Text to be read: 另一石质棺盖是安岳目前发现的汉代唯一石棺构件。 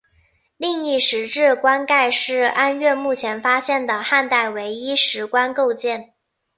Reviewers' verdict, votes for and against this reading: accepted, 4, 0